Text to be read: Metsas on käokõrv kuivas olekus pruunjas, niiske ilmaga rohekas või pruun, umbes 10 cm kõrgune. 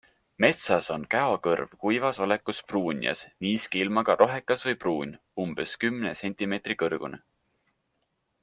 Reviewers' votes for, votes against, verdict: 0, 2, rejected